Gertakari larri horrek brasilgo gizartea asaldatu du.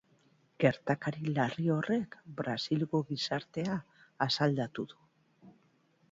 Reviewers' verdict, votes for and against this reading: accepted, 2, 0